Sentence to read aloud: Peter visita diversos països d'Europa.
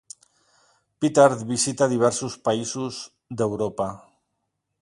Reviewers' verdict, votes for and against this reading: rejected, 0, 2